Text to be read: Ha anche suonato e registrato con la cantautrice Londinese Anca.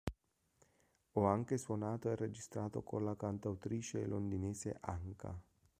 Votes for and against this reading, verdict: 1, 3, rejected